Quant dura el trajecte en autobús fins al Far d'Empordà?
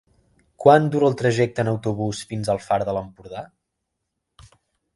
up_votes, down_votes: 0, 2